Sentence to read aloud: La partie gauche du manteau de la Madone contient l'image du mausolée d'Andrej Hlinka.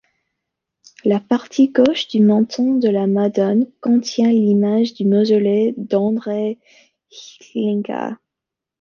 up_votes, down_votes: 2, 0